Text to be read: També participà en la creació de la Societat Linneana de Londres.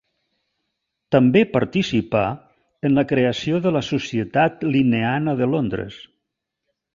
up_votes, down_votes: 2, 0